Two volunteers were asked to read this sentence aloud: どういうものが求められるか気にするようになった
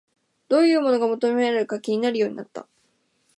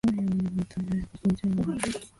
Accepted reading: first